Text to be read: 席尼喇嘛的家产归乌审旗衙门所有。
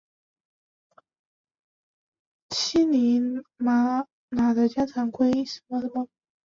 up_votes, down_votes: 0, 2